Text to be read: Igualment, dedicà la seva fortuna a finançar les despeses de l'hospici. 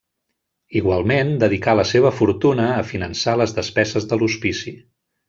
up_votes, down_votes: 1, 2